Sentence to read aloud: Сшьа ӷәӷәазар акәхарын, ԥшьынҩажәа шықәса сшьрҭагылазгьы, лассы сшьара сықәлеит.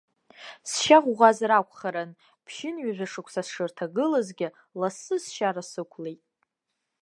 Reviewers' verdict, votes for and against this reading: accepted, 2, 0